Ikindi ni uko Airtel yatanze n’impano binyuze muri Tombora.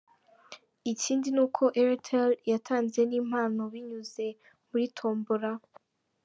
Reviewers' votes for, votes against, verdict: 2, 0, accepted